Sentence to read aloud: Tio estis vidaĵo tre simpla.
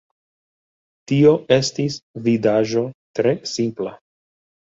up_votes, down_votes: 2, 1